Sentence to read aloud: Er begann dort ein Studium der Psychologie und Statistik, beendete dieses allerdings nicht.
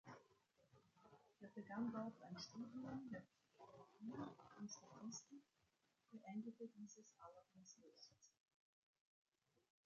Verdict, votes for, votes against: rejected, 0, 2